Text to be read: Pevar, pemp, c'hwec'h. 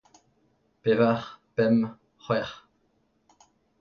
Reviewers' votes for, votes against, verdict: 2, 0, accepted